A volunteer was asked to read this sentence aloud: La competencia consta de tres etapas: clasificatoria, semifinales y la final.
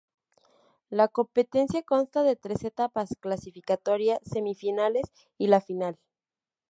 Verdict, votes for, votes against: accepted, 2, 0